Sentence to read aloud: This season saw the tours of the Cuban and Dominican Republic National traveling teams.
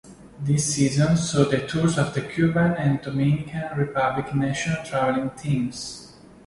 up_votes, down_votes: 2, 0